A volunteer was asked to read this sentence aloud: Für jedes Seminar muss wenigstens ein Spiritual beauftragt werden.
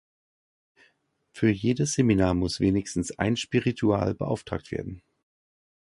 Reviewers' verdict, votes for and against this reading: accepted, 2, 0